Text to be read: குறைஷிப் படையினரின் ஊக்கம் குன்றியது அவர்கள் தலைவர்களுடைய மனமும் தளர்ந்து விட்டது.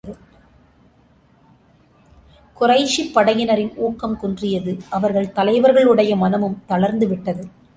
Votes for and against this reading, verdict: 2, 0, accepted